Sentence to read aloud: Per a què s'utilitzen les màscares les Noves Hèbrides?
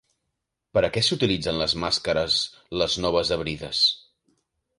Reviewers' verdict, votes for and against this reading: rejected, 1, 2